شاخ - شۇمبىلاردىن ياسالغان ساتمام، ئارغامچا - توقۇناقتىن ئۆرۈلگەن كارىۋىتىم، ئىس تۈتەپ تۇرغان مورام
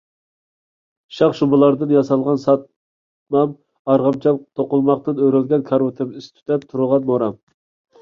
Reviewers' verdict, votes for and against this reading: rejected, 0, 2